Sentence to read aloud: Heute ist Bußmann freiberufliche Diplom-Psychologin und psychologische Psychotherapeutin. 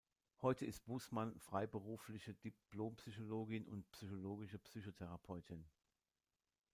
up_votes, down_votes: 0, 2